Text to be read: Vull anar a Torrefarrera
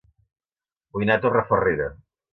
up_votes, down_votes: 2, 0